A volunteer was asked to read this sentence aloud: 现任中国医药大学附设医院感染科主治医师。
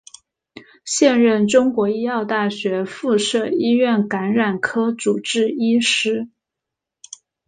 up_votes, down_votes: 2, 0